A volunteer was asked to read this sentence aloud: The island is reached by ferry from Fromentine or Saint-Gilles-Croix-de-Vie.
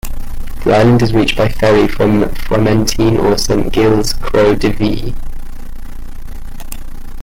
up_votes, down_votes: 2, 1